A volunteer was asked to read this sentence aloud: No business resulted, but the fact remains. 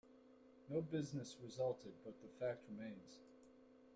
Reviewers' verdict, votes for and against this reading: accepted, 2, 0